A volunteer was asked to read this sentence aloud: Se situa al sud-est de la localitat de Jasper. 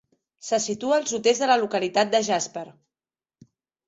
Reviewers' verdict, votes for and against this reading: accepted, 2, 0